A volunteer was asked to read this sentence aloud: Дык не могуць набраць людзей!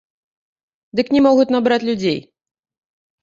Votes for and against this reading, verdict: 0, 2, rejected